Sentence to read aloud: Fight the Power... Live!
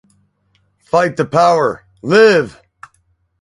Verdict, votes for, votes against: rejected, 0, 2